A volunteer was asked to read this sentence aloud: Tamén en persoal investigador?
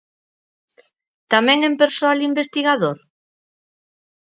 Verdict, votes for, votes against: accepted, 4, 0